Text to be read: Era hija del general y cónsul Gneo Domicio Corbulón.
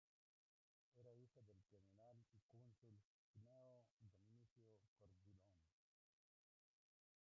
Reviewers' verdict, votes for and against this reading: rejected, 0, 2